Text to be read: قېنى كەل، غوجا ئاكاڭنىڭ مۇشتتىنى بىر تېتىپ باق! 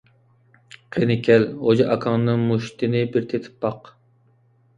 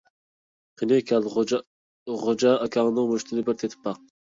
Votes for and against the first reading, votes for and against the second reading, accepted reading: 2, 0, 1, 2, first